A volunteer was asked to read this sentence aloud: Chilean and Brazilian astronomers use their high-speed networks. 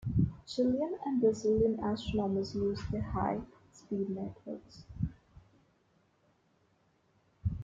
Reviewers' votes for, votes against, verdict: 2, 0, accepted